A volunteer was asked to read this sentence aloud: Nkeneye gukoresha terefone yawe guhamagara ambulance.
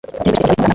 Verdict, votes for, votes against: rejected, 1, 2